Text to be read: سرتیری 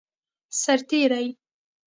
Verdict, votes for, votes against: accepted, 2, 0